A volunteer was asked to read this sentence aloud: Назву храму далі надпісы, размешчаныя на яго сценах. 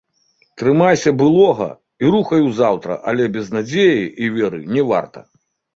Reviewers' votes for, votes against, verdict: 0, 2, rejected